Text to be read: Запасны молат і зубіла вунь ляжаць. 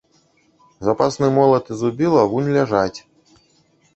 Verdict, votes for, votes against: rejected, 1, 2